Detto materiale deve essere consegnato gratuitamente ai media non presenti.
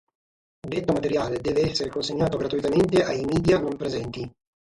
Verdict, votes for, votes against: rejected, 3, 6